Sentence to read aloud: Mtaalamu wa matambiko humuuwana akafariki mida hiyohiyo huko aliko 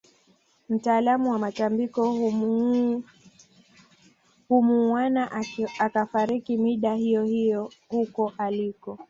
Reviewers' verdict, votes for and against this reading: rejected, 0, 2